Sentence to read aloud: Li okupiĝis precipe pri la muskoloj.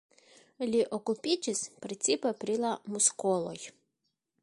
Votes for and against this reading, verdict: 1, 2, rejected